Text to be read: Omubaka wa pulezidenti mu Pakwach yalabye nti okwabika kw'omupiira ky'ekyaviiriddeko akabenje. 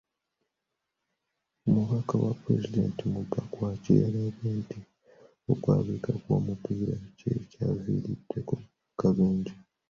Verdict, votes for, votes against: rejected, 1, 2